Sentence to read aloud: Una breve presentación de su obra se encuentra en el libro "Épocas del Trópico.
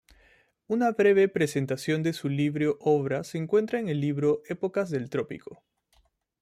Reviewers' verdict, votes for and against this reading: rejected, 1, 2